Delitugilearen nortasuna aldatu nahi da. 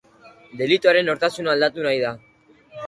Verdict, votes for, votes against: rejected, 1, 3